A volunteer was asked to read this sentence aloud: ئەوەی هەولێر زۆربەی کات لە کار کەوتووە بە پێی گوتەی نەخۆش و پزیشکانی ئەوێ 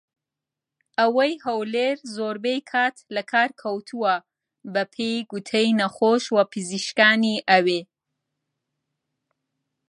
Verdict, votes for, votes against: accepted, 2, 0